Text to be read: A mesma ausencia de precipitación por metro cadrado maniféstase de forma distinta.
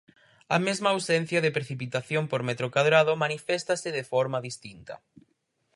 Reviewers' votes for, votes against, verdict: 4, 0, accepted